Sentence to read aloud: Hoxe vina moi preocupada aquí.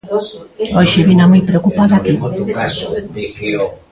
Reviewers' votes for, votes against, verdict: 0, 2, rejected